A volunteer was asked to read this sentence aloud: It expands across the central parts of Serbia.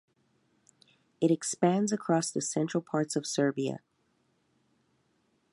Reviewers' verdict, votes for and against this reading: accepted, 2, 0